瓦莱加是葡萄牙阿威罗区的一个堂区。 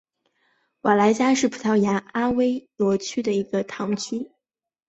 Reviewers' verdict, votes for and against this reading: accepted, 3, 0